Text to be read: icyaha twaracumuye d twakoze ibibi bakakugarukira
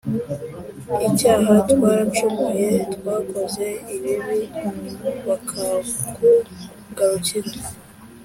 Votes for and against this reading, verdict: 2, 0, accepted